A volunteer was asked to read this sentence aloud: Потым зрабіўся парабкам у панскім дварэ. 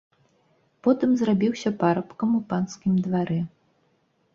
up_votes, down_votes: 2, 0